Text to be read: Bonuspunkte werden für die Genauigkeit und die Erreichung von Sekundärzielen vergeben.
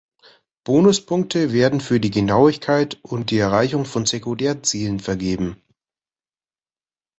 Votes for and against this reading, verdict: 1, 2, rejected